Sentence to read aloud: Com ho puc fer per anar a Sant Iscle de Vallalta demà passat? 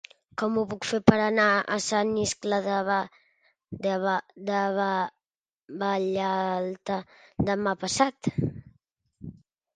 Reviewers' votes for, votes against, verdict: 0, 2, rejected